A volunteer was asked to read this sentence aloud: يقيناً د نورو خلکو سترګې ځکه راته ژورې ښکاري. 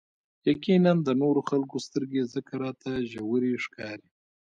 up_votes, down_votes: 2, 1